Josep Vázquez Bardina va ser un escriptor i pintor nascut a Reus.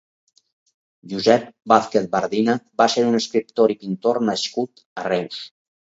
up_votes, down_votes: 2, 2